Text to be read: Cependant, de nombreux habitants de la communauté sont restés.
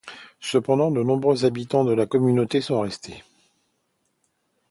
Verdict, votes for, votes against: accepted, 2, 0